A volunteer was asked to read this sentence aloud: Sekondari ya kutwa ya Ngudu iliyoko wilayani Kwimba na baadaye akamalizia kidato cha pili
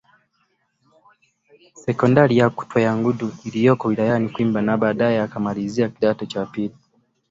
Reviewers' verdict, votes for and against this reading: accepted, 2, 1